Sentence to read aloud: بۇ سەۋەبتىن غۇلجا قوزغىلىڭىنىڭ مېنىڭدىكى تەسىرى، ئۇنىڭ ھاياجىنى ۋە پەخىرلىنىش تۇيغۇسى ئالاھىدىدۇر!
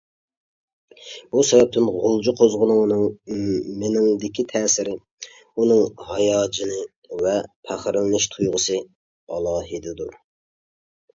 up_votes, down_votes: 0, 2